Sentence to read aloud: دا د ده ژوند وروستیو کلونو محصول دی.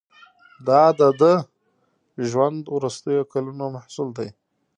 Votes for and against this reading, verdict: 2, 0, accepted